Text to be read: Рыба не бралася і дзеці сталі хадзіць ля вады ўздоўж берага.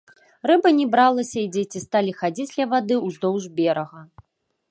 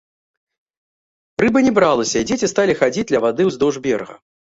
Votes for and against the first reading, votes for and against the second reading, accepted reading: 1, 2, 2, 0, second